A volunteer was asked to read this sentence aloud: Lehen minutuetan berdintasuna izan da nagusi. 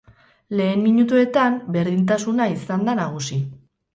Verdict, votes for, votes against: rejected, 2, 2